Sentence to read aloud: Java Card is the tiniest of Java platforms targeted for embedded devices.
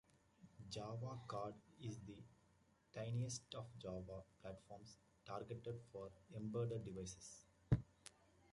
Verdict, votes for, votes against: accepted, 2, 1